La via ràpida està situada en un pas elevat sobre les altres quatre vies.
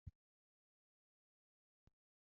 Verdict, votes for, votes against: rejected, 0, 2